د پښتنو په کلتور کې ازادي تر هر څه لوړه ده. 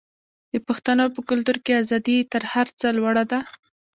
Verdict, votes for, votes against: rejected, 1, 2